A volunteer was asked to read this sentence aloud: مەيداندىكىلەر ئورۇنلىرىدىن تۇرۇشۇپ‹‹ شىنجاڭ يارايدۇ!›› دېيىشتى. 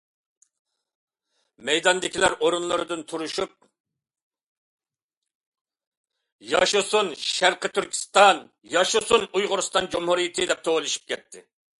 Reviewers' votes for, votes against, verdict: 0, 2, rejected